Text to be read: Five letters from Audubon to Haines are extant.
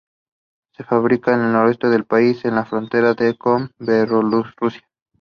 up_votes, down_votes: 0, 2